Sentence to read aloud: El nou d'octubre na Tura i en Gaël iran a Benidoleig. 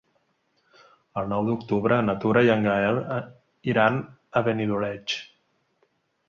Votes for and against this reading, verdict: 1, 3, rejected